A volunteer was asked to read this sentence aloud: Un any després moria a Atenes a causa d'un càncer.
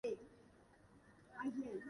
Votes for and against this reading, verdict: 0, 2, rejected